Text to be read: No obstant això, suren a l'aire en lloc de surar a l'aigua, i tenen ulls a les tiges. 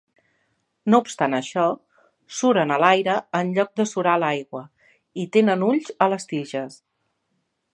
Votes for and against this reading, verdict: 2, 0, accepted